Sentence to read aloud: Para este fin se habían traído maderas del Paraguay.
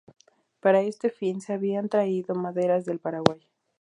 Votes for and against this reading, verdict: 0, 2, rejected